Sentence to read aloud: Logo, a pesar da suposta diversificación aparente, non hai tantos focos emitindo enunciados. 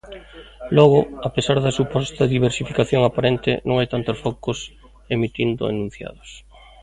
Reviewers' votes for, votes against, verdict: 1, 2, rejected